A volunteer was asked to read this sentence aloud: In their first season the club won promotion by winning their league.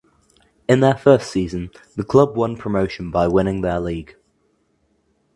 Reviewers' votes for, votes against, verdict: 2, 0, accepted